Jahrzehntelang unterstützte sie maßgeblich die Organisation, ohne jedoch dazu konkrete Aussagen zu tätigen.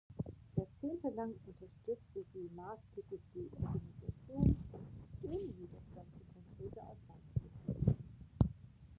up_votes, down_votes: 0, 2